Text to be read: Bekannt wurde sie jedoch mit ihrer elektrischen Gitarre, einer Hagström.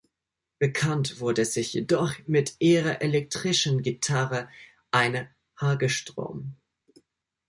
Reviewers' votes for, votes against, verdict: 0, 2, rejected